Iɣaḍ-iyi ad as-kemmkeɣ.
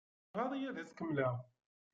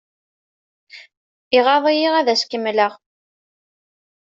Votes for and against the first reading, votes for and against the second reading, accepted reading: 0, 2, 2, 0, second